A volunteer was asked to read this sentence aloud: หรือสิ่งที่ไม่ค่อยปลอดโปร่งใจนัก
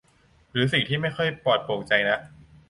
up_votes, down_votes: 2, 0